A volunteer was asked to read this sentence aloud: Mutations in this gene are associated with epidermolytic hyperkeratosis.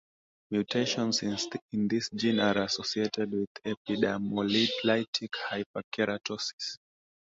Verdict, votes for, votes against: rejected, 1, 2